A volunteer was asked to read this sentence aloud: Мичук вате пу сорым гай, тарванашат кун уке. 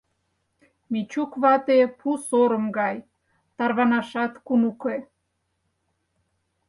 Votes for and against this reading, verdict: 4, 0, accepted